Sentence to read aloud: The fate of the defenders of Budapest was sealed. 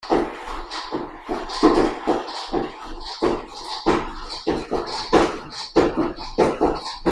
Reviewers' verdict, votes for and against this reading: rejected, 0, 7